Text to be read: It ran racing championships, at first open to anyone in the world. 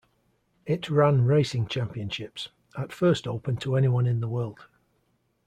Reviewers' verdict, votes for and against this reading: accepted, 2, 1